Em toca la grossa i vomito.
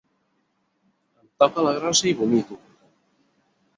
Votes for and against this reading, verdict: 2, 4, rejected